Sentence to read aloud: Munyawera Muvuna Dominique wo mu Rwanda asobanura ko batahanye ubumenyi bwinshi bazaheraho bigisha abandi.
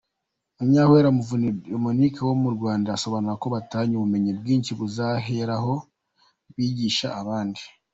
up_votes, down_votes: 0, 2